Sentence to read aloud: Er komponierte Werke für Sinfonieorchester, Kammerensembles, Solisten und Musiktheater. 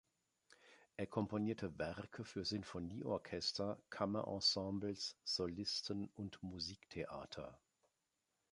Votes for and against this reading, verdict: 2, 0, accepted